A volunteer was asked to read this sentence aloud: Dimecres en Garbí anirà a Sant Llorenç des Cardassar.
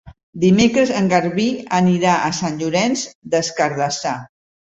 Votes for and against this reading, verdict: 2, 0, accepted